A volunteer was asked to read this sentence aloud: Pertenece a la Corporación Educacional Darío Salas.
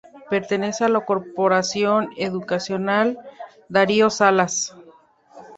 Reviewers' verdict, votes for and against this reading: rejected, 0, 2